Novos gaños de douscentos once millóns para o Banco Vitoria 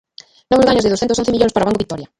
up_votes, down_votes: 0, 2